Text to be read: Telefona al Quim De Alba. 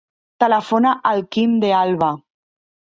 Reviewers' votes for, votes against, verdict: 2, 0, accepted